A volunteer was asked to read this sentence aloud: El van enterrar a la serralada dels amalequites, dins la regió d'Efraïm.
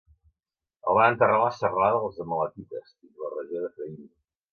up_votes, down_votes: 1, 2